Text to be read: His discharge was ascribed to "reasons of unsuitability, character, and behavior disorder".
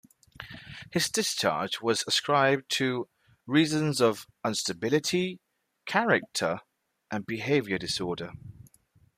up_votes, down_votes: 0, 2